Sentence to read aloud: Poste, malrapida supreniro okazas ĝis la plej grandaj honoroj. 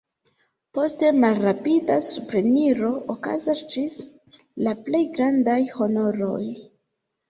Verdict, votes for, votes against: accepted, 2, 0